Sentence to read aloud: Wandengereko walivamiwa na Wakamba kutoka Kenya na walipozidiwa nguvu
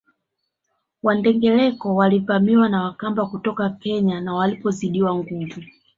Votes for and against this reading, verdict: 5, 0, accepted